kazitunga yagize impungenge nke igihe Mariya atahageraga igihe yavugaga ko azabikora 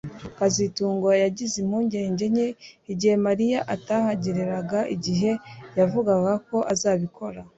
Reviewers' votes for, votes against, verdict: 2, 0, accepted